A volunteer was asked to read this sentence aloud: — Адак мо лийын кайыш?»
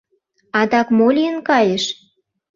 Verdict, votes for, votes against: accepted, 2, 0